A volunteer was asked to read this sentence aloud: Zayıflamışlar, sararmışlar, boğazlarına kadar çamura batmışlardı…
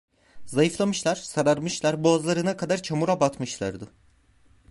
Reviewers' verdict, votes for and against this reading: accepted, 2, 0